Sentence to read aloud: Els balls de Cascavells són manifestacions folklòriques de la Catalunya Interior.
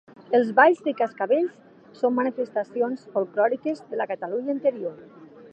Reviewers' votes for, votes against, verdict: 2, 0, accepted